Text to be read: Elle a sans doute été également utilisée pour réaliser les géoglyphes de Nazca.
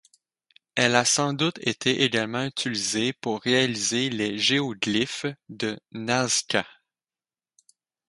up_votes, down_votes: 4, 0